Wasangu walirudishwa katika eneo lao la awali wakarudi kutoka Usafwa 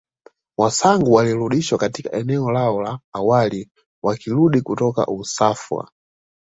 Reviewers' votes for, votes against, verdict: 2, 1, accepted